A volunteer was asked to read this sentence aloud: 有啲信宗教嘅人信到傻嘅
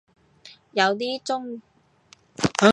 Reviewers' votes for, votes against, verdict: 1, 2, rejected